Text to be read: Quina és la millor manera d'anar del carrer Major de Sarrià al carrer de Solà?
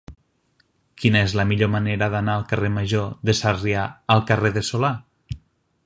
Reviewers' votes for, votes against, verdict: 1, 2, rejected